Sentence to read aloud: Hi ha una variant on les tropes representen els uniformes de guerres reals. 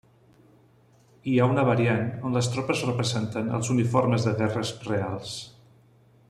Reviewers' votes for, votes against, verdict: 0, 2, rejected